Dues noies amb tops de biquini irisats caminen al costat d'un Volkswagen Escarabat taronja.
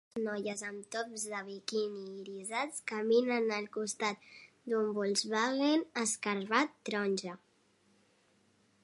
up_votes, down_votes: 0, 2